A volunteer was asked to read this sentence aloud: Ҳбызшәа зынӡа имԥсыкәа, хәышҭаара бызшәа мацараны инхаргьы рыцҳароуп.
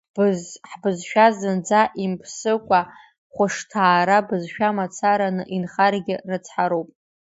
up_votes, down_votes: 0, 2